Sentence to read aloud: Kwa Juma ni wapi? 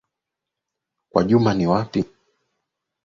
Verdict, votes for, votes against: accepted, 2, 0